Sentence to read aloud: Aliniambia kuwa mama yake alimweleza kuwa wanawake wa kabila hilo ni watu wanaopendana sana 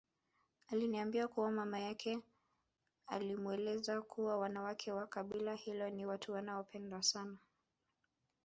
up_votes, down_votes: 1, 2